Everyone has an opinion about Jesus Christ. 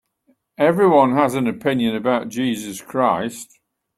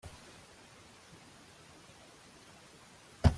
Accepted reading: first